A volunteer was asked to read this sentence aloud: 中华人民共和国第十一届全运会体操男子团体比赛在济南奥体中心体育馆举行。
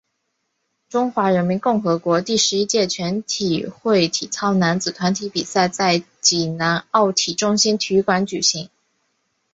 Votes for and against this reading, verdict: 1, 2, rejected